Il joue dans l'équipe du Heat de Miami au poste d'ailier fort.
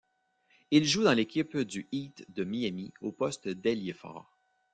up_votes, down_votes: 0, 2